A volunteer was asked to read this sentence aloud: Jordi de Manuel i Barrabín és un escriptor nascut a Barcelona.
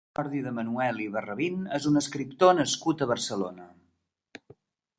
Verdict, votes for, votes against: rejected, 0, 3